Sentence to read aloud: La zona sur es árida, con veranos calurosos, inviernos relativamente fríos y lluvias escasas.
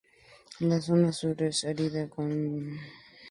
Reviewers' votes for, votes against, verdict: 0, 2, rejected